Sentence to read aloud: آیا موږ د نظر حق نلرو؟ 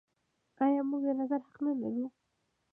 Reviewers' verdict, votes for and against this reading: accepted, 2, 0